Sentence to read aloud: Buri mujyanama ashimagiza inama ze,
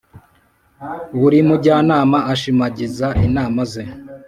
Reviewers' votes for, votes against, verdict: 2, 0, accepted